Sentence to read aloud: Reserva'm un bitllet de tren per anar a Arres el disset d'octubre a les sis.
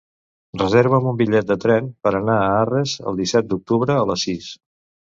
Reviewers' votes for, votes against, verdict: 2, 0, accepted